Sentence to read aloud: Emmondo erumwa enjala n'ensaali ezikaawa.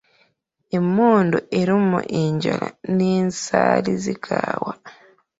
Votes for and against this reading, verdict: 0, 2, rejected